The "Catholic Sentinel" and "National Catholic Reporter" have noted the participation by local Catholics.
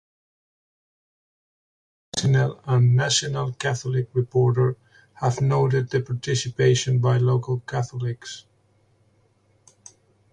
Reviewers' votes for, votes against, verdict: 0, 2, rejected